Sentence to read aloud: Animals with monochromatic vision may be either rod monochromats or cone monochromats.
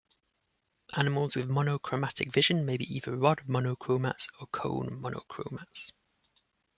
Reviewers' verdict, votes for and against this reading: accepted, 2, 0